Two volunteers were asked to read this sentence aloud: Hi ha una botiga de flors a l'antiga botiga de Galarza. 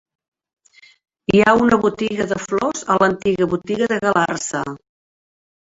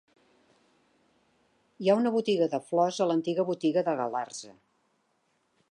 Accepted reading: second